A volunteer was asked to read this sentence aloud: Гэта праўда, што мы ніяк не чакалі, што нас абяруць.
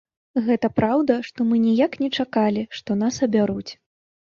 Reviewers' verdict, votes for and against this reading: accepted, 3, 0